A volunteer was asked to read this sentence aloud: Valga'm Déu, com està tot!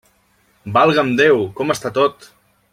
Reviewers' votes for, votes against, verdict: 1, 2, rejected